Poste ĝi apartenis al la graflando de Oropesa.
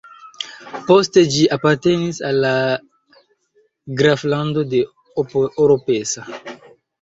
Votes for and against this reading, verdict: 1, 2, rejected